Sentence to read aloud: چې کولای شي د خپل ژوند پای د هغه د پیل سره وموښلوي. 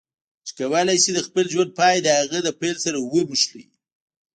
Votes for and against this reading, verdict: 0, 2, rejected